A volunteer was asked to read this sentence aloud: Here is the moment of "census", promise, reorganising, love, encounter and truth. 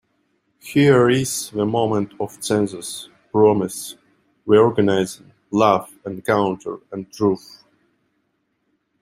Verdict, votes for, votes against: rejected, 0, 2